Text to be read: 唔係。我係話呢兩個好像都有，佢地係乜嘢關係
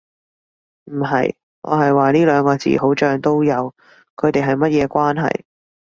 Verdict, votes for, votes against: rejected, 0, 2